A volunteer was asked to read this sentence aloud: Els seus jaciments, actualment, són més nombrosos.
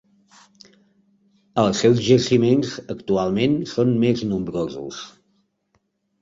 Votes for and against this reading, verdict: 3, 0, accepted